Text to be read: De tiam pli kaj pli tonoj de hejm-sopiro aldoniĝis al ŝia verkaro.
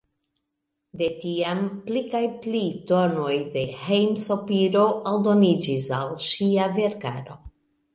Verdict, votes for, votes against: accepted, 2, 0